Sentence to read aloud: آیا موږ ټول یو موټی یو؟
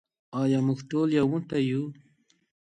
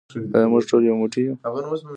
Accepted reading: first